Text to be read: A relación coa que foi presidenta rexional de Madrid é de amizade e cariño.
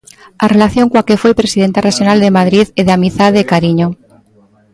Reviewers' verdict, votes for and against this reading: rejected, 0, 2